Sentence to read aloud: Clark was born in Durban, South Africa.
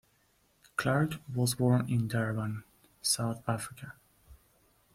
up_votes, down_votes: 2, 0